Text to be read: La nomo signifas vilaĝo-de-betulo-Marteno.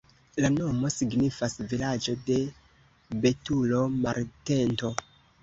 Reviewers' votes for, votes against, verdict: 0, 2, rejected